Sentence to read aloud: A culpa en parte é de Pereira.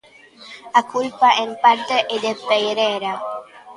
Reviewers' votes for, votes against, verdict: 0, 2, rejected